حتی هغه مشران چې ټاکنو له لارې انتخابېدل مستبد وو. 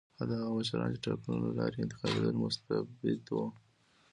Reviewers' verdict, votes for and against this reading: rejected, 0, 2